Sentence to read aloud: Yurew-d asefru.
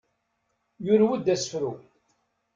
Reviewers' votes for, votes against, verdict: 2, 0, accepted